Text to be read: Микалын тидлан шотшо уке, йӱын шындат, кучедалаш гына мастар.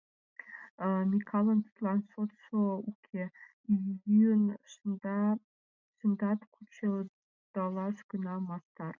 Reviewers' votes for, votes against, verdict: 0, 2, rejected